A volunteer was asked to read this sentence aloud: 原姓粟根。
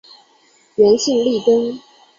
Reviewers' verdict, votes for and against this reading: rejected, 1, 2